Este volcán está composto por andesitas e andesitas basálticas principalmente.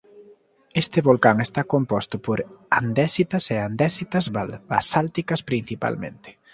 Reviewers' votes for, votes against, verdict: 0, 2, rejected